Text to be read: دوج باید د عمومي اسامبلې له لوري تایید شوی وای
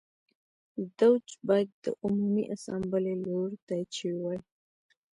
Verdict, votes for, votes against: rejected, 1, 2